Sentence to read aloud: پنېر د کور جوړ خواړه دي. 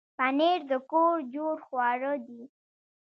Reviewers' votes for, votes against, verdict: 1, 2, rejected